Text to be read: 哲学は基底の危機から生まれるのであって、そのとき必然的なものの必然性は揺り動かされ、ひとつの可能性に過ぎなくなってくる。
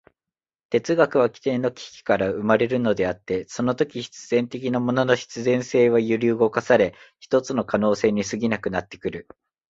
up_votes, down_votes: 2, 0